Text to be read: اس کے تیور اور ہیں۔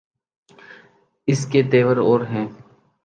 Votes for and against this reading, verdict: 2, 0, accepted